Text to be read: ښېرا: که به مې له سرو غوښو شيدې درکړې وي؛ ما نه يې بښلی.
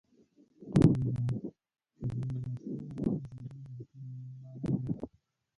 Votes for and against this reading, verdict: 0, 2, rejected